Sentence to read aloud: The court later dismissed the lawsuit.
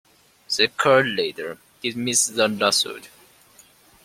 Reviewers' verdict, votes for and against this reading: accepted, 2, 1